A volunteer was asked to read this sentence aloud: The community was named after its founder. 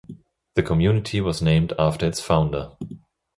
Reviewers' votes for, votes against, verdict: 2, 0, accepted